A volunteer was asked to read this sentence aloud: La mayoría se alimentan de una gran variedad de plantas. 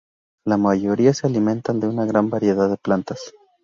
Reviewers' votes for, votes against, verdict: 2, 0, accepted